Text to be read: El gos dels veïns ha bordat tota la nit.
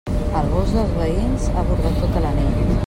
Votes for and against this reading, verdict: 1, 2, rejected